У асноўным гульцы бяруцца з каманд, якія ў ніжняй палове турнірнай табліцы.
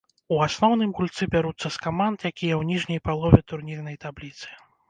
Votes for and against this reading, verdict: 2, 0, accepted